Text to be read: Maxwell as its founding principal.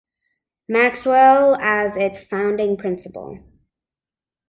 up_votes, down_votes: 2, 0